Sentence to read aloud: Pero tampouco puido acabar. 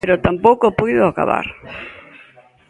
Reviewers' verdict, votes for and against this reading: accepted, 2, 0